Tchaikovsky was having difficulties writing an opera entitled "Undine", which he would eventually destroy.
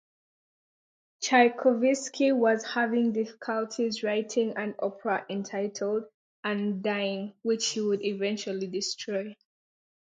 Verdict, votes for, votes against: rejected, 0, 2